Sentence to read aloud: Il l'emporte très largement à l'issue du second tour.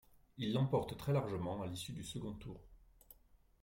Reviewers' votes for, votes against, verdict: 2, 1, accepted